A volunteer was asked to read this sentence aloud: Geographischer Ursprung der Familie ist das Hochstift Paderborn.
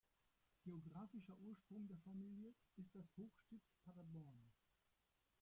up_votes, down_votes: 0, 2